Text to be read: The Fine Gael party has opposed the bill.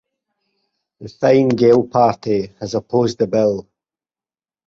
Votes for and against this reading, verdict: 4, 0, accepted